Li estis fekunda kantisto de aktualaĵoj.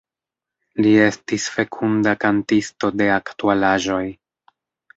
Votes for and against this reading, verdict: 2, 0, accepted